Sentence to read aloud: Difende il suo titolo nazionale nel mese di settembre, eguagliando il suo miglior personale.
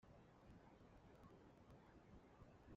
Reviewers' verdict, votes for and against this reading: rejected, 0, 2